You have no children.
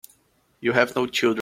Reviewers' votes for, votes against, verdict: 0, 2, rejected